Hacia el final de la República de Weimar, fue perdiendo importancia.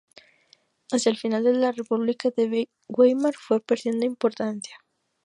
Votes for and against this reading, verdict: 2, 2, rejected